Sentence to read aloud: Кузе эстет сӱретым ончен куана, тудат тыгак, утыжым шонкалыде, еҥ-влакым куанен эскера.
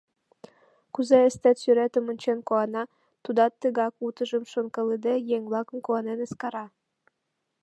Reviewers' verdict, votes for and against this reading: rejected, 0, 2